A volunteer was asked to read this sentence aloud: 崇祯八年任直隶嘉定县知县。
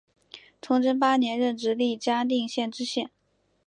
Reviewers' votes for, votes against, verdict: 3, 0, accepted